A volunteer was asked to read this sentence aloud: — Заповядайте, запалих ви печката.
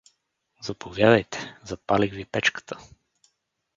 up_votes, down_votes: 4, 0